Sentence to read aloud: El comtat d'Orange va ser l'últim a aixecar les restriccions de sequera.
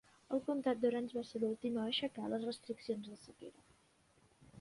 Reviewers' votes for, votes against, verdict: 2, 0, accepted